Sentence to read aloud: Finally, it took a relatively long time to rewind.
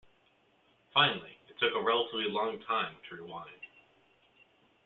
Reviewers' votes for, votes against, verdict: 2, 1, accepted